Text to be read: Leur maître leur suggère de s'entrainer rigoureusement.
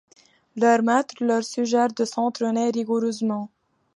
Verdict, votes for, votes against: accepted, 2, 0